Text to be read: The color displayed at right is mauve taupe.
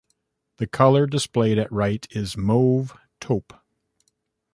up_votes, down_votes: 2, 0